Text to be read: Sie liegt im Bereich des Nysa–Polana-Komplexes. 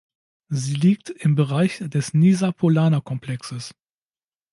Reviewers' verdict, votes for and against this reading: accepted, 2, 0